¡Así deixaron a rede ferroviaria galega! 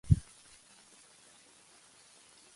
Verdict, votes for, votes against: rejected, 0, 2